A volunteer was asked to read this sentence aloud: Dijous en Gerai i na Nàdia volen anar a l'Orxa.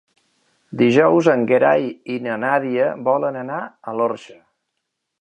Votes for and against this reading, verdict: 2, 1, accepted